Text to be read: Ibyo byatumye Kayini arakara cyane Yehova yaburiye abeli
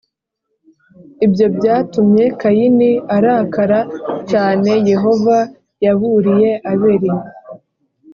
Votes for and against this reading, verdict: 2, 0, accepted